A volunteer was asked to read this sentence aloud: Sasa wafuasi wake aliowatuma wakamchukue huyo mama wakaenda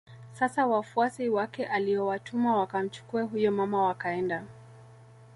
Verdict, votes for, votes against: accepted, 2, 0